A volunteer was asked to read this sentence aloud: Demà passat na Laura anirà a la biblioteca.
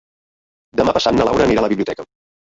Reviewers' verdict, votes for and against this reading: rejected, 0, 2